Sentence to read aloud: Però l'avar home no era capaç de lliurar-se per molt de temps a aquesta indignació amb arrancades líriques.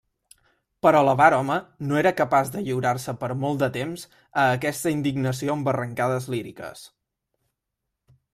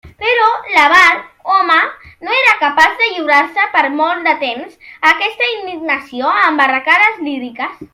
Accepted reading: first